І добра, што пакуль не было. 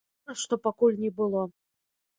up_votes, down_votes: 0, 2